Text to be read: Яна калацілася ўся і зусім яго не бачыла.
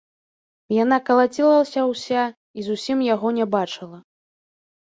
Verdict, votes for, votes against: rejected, 1, 2